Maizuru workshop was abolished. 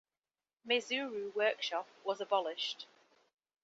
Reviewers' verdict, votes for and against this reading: accepted, 2, 1